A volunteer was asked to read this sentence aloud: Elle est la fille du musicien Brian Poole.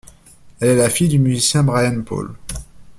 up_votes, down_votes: 1, 2